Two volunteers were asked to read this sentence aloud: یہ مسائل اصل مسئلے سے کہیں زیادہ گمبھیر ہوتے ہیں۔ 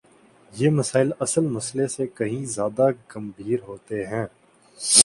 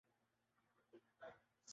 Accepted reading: first